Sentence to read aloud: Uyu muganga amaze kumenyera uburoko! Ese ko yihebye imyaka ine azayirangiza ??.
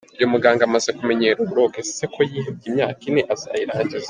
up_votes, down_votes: 2, 1